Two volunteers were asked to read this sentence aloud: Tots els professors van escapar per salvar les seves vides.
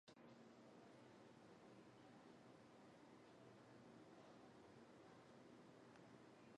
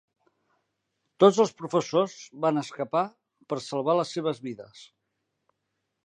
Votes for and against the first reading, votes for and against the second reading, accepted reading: 1, 2, 2, 0, second